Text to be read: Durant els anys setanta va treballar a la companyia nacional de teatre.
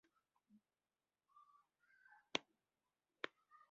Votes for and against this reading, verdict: 0, 2, rejected